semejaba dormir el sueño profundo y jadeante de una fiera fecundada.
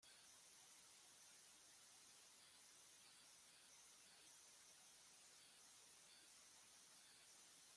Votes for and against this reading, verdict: 0, 2, rejected